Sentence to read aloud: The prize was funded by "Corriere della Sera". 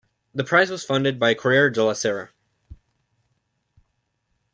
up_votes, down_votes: 2, 0